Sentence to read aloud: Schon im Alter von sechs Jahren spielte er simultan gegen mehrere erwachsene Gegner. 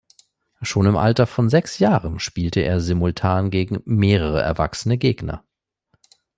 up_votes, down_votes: 2, 0